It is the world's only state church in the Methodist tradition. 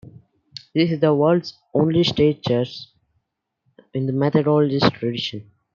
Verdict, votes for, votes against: accepted, 2, 1